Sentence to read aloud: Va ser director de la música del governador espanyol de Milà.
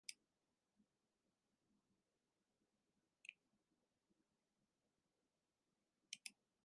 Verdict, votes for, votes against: rejected, 0, 2